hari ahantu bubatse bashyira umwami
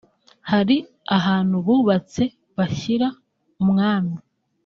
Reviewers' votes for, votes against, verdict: 0, 2, rejected